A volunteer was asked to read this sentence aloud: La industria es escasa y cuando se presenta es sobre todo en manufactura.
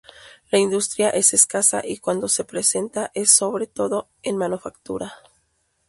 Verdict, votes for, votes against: rejected, 0, 2